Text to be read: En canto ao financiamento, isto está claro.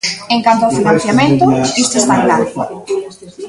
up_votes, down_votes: 0, 2